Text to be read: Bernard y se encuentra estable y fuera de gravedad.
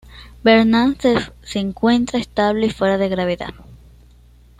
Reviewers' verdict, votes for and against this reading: rejected, 1, 2